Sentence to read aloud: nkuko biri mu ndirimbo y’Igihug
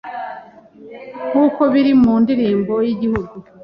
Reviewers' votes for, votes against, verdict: 2, 0, accepted